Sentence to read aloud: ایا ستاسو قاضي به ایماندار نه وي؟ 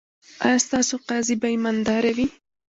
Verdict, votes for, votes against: accepted, 2, 0